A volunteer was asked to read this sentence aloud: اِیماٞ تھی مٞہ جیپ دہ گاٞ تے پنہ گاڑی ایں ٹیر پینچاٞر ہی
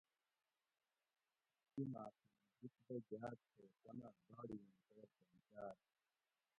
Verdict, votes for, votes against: rejected, 0, 2